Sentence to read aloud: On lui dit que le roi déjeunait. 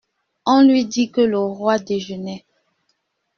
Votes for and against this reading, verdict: 2, 0, accepted